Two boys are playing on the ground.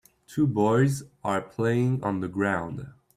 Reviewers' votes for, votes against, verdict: 3, 0, accepted